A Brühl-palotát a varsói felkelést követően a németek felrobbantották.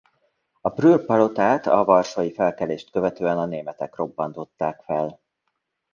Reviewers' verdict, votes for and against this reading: rejected, 0, 2